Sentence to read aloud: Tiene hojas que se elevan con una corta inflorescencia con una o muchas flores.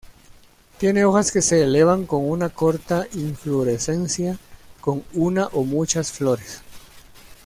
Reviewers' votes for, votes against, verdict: 1, 2, rejected